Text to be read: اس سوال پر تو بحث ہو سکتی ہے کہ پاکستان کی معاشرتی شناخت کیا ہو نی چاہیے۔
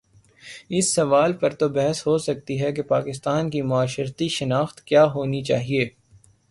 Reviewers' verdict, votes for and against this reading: rejected, 3, 3